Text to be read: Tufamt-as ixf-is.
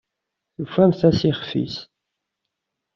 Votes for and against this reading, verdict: 2, 0, accepted